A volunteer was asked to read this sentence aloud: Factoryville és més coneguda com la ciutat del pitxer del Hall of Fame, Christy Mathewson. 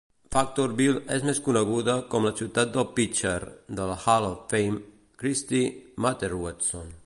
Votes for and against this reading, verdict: 2, 3, rejected